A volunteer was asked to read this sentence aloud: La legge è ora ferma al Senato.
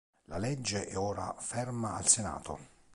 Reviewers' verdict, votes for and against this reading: accepted, 2, 0